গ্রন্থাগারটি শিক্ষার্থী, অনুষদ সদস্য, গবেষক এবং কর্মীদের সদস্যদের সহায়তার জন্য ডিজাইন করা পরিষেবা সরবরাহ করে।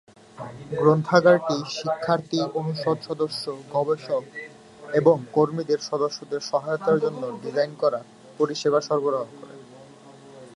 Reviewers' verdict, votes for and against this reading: accepted, 2, 0